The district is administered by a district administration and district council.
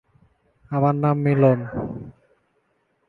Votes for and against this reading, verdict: 0, 2, rejected